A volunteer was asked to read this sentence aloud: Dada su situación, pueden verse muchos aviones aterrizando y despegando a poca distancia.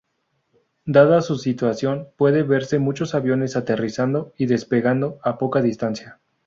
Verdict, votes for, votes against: accepted, 2, 0